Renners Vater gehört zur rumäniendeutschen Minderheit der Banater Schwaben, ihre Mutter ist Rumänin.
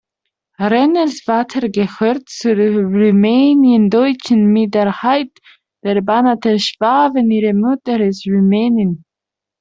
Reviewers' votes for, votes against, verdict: 0, 2, rejected